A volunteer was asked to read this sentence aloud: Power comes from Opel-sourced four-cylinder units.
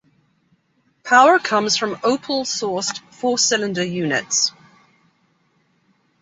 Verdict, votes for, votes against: rejected, 1, 2